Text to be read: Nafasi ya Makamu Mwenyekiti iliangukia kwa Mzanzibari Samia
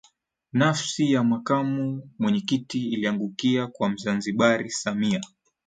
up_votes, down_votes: 0, 2